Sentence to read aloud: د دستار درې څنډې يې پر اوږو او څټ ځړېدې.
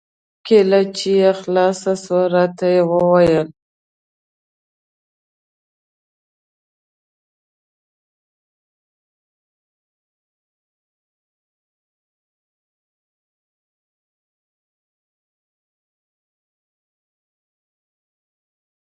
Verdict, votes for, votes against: rejected, 0, 2